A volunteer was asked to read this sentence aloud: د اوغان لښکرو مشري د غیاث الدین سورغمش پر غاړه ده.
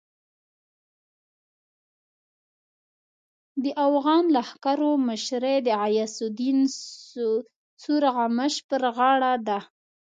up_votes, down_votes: 1, 2